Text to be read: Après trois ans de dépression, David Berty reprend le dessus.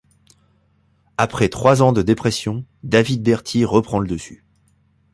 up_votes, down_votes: 2, 0